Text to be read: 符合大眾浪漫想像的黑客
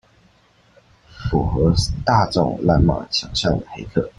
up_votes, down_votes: 1, 2